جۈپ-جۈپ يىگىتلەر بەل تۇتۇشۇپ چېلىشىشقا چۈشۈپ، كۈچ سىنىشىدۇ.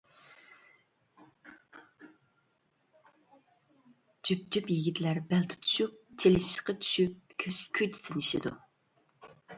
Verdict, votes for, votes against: rejected, 0, 2